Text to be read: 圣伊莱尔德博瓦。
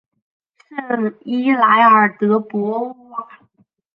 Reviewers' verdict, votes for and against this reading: accepted, 4, 2